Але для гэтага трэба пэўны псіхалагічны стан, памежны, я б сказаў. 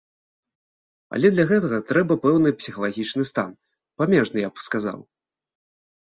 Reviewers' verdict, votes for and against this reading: accepted, 2, 0